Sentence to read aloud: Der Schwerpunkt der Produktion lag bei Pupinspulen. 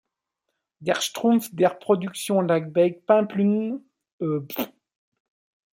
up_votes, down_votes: 0, 2